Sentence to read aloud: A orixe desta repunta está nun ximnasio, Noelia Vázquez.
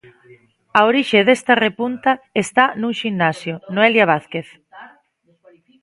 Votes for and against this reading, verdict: 0, 2, rejected